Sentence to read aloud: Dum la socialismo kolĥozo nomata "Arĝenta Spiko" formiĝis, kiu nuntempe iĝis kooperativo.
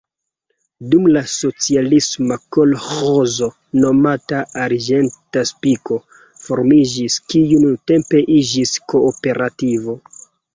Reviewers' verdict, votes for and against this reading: accepted, 2, 0